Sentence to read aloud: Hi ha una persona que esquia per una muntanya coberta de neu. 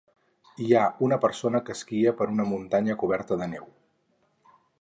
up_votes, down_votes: 4, 0